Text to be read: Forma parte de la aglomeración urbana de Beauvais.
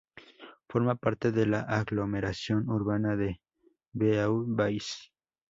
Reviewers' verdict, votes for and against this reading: accepted, 2, 0